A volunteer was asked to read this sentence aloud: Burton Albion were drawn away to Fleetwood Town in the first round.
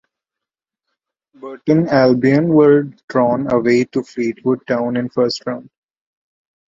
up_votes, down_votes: 0, 2